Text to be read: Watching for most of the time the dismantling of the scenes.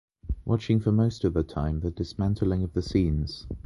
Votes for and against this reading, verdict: 2, 0, accepted